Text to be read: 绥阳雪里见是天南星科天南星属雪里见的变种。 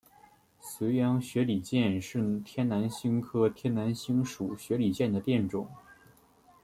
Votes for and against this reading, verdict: 2, 0, accepted